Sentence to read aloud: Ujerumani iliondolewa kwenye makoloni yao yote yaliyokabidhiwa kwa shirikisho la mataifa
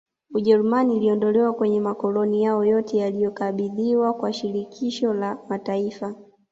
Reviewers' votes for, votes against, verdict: 2, 0, accepted